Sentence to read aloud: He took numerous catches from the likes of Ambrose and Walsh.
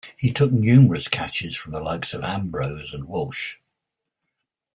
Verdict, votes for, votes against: accepted, 2, 0